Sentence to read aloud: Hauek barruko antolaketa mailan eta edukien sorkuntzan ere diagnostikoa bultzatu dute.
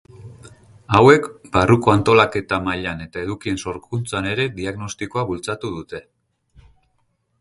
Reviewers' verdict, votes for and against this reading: accepted, 2, 0